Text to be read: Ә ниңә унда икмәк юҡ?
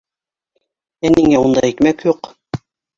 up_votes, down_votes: 0, 2